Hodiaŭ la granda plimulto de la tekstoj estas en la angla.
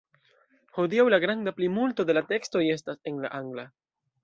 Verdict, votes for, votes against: accepted, 2, 0